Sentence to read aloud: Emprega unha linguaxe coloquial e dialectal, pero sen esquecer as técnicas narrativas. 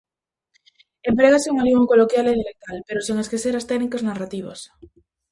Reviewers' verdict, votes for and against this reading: rejected, 0, 2